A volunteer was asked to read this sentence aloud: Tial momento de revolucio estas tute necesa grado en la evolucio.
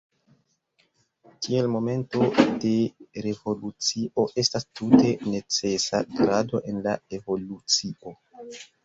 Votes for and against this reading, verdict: 0, 2, rejected